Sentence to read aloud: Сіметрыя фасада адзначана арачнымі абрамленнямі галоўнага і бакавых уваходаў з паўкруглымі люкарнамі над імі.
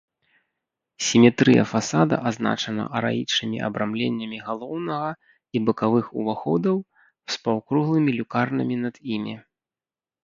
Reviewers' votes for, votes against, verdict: 1, 3, rejected